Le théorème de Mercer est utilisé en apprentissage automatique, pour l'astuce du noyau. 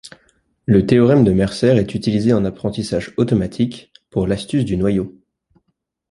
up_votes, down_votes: 2, 0